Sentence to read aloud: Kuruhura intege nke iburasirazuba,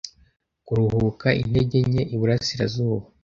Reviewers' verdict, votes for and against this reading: rejected, 1, 2